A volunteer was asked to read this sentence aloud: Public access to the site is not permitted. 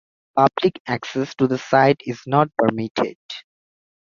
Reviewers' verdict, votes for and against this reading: accepted, 2, 0